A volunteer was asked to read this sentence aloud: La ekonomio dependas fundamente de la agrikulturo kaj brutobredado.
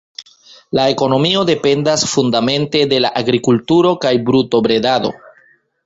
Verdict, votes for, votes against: rejected, 1, 2